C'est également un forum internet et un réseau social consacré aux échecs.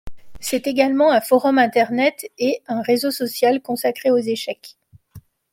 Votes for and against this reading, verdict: 2, 0, accepted